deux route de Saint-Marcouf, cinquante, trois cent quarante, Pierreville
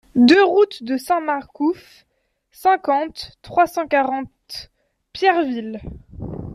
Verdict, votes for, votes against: accepted, 2, 0